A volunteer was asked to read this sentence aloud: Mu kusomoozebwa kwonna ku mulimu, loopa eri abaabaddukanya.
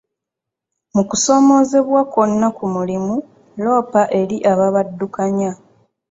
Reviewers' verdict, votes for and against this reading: accepted, 2, 0